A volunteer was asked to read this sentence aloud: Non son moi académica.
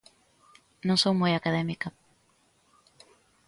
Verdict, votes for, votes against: accepted, 2, 0